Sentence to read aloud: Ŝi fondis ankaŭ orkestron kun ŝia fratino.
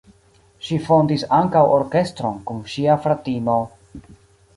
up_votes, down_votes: 0, 2